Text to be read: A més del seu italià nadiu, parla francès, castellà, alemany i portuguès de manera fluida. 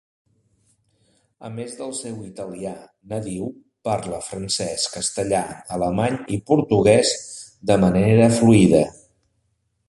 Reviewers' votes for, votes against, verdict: 3, 0, accepted